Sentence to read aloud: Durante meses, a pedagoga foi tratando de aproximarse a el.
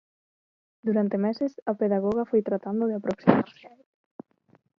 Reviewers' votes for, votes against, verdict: 1, 2, rejected